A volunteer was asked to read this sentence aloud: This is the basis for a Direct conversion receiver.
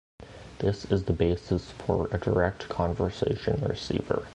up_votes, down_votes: 1, 2